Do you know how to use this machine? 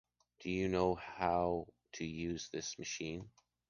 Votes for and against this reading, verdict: 2, 0, accepted